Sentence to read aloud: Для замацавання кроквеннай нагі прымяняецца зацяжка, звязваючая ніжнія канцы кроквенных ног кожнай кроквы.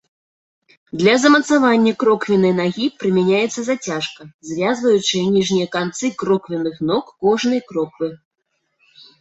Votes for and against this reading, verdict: 2, 0, accepted